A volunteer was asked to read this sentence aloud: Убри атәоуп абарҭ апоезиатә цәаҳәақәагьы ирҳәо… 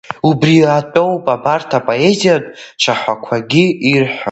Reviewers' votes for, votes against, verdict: 1, 2, rejected